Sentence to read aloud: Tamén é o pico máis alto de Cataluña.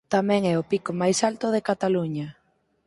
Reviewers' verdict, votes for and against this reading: accepted, 4, 0